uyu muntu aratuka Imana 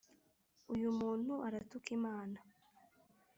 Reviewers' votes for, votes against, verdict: 1, 2, rejected